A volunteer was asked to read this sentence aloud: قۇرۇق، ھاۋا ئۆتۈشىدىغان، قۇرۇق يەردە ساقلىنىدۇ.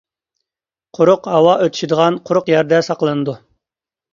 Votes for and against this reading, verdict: 2, 0, accepted